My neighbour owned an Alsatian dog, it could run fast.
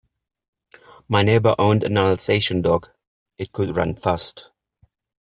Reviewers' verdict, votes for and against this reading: accepted, 2, 1